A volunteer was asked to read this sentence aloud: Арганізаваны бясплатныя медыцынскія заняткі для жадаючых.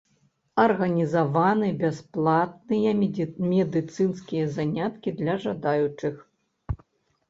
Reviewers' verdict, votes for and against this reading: rejected, 1, 2